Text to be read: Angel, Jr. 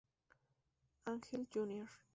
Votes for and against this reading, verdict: 0, 2, rejected